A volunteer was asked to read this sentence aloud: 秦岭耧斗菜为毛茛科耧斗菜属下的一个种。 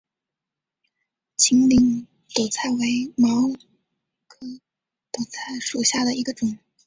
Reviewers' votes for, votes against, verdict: 1, 2, rejected